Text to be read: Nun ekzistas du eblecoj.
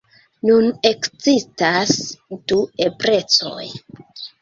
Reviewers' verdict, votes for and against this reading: rejected, 0, 2